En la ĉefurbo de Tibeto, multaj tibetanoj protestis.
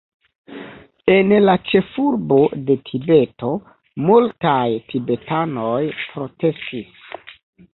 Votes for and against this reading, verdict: 1, 2, rejected